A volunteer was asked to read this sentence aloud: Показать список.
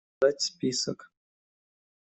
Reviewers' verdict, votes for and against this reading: rejected, 0, 2